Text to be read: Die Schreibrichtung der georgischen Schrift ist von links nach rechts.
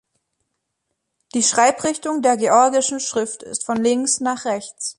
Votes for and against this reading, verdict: 2, 0, accepted